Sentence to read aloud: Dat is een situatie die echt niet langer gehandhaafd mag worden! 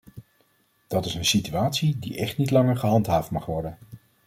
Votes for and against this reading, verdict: 2, 0, accepted